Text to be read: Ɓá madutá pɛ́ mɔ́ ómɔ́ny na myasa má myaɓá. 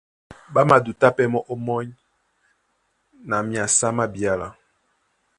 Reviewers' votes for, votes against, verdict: 1, 2, rejected